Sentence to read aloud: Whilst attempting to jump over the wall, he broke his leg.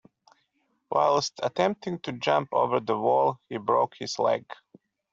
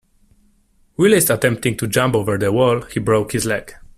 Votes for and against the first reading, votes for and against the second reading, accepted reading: 2, 0, 0, 2, first